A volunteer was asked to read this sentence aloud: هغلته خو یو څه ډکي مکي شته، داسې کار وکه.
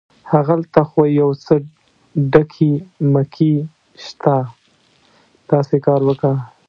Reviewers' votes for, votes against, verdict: 0, 2, rejected